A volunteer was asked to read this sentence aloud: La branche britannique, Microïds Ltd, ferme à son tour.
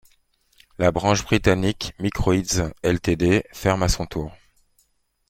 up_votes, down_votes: 2, 0